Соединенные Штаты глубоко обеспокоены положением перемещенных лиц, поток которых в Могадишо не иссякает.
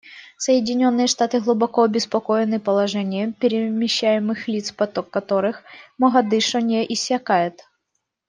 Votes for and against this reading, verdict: 0, 2, rejected